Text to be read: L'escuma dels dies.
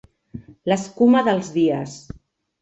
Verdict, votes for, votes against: accepted, 2, 0